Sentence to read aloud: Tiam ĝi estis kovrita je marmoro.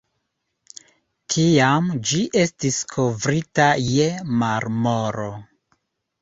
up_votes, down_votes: 2, 0